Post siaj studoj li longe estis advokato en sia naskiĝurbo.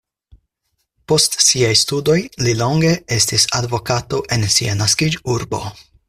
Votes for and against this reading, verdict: 4, 0, accepted